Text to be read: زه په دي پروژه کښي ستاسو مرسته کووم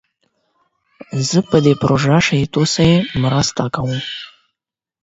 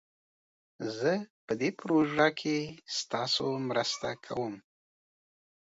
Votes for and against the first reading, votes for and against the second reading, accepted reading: 4, 8, 2, 1, second